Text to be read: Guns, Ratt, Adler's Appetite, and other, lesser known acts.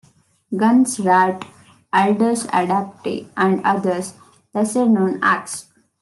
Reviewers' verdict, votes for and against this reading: rejected, 0, 2